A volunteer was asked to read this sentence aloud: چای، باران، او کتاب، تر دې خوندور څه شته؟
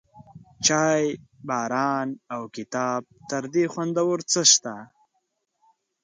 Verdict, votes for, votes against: accepted, 2, 0